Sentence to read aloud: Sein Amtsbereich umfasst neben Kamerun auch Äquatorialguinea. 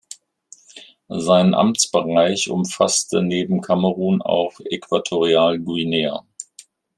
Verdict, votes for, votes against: rejected, 1, 2